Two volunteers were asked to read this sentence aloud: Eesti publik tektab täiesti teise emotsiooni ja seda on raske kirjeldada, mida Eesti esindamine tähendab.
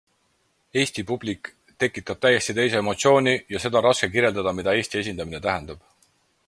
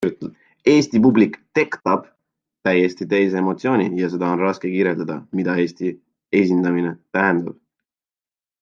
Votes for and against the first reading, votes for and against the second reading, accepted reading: 4, 0, 0, 2, first